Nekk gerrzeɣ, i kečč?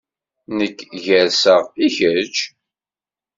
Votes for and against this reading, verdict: 2, 0, accepted